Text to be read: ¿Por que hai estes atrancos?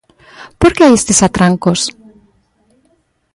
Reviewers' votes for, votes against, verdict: 2, 1, accepted